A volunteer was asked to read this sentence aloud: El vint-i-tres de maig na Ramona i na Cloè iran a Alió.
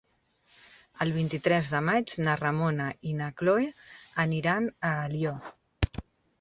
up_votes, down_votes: 0, 2